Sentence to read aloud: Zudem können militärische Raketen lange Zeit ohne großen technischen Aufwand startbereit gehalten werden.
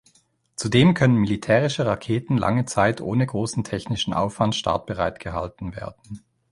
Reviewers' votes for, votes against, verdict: 2, 0, accepted